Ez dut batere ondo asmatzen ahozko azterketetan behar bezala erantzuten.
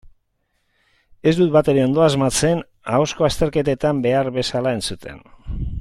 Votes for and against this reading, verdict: 0, 2, rejected